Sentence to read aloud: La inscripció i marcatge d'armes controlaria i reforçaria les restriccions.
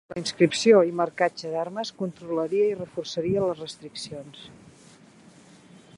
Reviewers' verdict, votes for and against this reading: accepted, 2, 1